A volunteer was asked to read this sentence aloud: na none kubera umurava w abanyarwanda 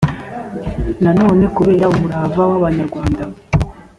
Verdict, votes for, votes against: accepted, 2, 0